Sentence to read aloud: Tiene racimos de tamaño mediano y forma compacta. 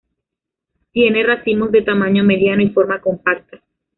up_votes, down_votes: 0, 2